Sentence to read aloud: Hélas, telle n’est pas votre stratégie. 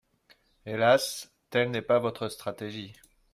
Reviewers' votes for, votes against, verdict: 2, 0, accepted